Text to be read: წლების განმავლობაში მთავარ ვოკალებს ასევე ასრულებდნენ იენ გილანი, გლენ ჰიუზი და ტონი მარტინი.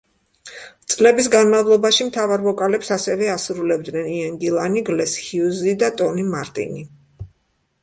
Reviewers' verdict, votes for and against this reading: rejected, 0, 2